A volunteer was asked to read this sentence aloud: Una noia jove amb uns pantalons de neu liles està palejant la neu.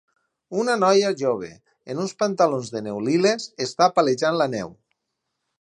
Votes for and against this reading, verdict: 0, 4, rejected